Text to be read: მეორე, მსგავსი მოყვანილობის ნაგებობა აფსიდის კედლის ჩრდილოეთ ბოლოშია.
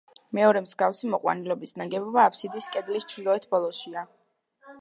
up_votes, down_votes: 2, 0